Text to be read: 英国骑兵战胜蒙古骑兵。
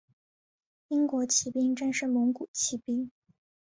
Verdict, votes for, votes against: accepted, 3, 2